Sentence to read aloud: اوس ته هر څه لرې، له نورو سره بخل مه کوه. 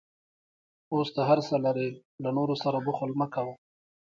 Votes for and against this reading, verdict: 2, 1, accepted